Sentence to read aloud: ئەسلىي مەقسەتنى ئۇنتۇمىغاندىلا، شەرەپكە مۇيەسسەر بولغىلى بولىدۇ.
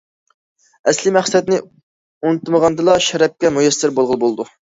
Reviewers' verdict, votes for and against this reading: accepted, 2, 0